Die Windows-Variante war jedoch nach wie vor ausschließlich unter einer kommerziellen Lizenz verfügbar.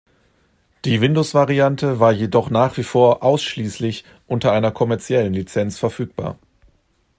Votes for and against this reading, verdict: 2, 0, accepted